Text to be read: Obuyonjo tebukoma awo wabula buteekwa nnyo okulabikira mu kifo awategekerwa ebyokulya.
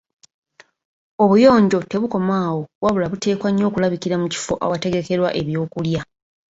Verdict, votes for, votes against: accepted, 2, 0